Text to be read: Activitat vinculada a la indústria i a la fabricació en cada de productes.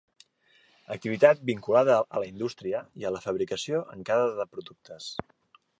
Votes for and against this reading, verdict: 2, 0, accepted